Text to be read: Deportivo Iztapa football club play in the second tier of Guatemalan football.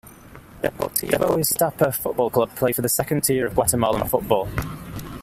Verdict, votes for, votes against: accepted, 2, 0